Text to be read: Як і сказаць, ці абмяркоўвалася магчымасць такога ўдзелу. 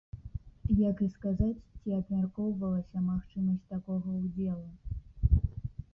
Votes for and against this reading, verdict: 0, 2, rejected